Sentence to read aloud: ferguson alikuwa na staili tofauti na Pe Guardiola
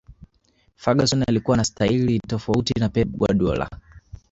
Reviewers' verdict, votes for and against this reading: accepted, 2, 1